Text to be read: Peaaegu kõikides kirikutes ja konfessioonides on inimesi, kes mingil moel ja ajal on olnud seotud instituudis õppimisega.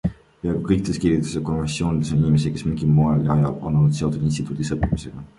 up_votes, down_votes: 2, 0